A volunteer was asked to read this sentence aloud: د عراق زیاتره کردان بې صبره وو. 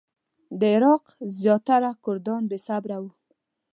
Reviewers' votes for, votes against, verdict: 2, 0, accepted